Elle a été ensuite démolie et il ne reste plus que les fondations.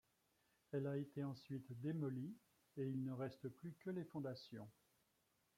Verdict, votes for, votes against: rejected, 0, 2